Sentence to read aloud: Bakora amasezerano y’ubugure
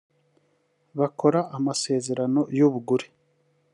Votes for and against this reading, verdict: 0, 2, rejected